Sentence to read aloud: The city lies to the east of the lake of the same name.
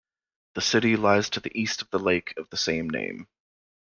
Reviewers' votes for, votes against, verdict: 2, 1, accepted